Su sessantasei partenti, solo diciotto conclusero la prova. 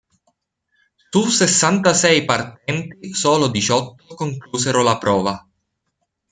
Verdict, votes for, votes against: rejected, 1, 2